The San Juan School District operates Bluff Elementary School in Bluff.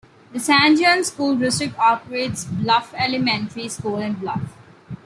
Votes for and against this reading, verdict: 2, 1, accepted